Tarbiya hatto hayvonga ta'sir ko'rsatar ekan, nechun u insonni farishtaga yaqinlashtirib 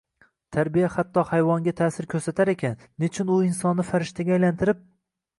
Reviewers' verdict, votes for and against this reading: rejected, 1, 2